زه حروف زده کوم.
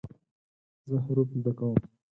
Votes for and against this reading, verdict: 2, 4, rejected